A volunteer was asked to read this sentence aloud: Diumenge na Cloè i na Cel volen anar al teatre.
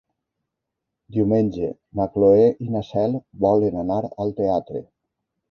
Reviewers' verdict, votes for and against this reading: accepted, 3, 0